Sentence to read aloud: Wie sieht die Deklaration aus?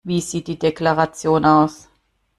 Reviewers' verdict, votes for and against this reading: accepted, 2, 0